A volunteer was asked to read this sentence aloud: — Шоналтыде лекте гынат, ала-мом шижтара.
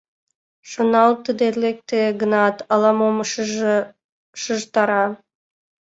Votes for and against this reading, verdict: 0, 2, rejected